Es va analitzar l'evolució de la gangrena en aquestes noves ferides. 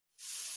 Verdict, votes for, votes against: rejected, 0, 2